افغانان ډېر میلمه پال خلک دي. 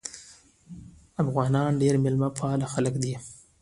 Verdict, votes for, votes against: accepted, 2, 0